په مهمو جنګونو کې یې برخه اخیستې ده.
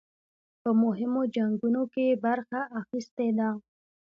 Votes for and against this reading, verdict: 1, 2, rejected